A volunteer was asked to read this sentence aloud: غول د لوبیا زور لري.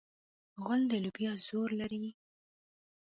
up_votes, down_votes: 0, 2